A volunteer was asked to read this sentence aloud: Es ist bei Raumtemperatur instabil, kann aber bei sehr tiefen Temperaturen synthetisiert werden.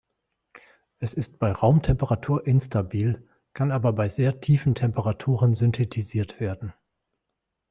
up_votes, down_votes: 2, 0